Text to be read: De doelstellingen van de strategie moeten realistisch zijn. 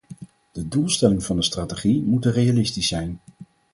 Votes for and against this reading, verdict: 4, 2, accepted